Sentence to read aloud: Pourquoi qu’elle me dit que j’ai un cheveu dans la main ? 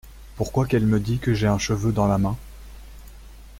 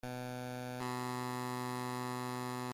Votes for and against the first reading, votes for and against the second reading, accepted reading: 2, 0, 0, 2, first